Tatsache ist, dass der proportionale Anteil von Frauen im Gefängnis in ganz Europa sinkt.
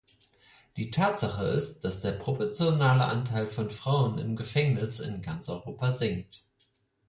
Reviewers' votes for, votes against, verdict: 2, 4, rejected